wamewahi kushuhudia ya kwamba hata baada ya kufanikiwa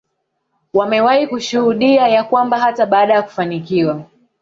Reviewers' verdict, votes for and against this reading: rejected, 0, 2